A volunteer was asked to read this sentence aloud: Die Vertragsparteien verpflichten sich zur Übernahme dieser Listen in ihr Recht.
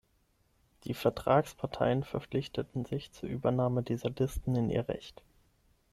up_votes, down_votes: 0, 6